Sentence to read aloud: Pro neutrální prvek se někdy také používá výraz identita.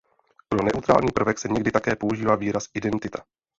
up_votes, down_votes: 0, 2